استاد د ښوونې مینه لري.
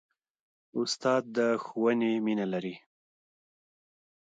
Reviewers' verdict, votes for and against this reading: accepted, 2, 0